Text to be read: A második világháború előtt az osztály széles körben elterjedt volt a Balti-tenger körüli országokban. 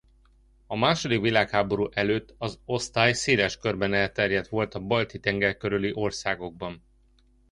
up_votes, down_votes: 2, 0